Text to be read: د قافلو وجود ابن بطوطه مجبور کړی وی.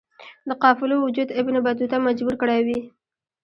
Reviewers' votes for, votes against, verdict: 2, 0, accepted